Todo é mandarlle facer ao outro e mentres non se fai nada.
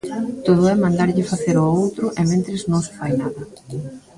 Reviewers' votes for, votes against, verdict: 1, 2, rejected